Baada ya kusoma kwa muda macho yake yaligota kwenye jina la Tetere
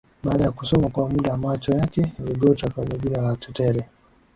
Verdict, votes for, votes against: accepted, 3, 2